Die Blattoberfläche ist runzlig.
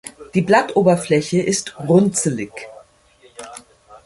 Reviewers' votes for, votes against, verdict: 1, 2, rejected